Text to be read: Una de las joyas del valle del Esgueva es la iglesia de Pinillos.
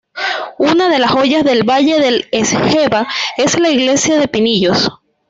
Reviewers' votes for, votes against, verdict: 1, 2, rejected